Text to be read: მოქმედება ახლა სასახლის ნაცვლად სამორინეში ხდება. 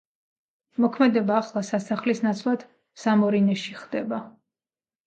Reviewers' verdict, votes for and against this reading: rejected, 0, 2